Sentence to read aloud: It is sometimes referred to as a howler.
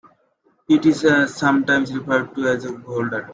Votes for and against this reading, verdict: 2, 1, accepted